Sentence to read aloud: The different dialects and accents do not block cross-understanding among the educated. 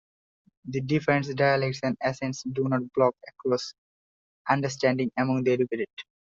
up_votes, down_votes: 2, 0